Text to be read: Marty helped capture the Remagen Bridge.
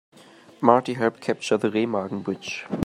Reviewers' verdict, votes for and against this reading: accepted, 3, 0